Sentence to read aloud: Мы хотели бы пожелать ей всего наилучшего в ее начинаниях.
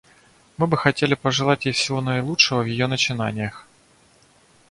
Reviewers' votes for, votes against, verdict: 1, 2, rejected